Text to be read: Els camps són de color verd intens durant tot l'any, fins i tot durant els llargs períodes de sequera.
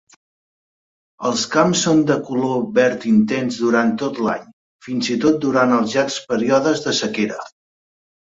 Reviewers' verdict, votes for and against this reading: accepted, 2, 0